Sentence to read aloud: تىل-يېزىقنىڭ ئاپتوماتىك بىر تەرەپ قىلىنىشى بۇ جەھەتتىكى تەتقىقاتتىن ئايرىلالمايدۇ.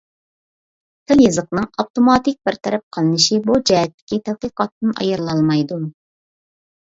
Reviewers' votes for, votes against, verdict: 2, 0, accepted